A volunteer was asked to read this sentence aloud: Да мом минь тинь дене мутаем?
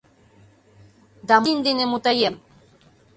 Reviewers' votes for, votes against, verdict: 0, 2, rejected